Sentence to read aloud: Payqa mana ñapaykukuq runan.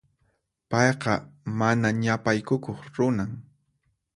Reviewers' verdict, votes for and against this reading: accepted, 4, 0